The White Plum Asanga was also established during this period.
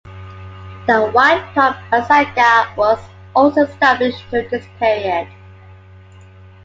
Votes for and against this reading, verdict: 2, 1, accepted